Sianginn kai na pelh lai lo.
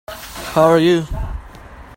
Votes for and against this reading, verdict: 0, 2, rejected